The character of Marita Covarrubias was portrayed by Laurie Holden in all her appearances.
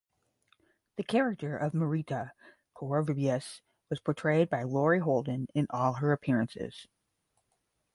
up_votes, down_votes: 5, 5